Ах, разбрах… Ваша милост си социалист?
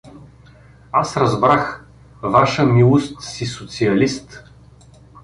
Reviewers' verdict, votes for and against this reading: rejected, 1, 2